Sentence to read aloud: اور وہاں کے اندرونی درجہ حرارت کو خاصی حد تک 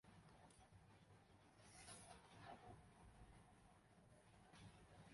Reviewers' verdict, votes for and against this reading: rejected, 0, 2